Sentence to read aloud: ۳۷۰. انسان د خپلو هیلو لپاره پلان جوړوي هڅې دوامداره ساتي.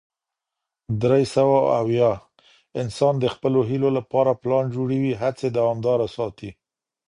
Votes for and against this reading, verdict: 0, 2, rejected